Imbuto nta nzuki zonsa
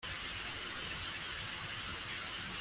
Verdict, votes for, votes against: rejected, 0, 2